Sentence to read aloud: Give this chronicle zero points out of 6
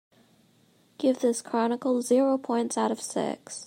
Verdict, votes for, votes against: rejected, 0, 2